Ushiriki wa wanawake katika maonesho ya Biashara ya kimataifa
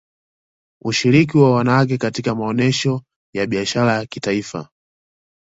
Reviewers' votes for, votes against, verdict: 2, 1, accepted